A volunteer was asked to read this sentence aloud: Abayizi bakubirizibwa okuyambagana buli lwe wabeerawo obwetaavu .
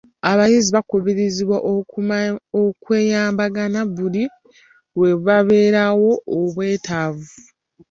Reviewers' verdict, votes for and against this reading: rejected, 1, 2